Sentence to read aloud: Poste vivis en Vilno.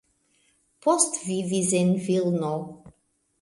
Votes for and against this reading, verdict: 1, 2, rejected